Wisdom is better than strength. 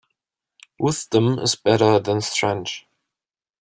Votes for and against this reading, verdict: 1, 2, rejected